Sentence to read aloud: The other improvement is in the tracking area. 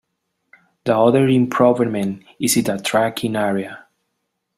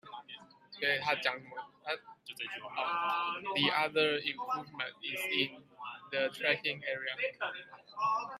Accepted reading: first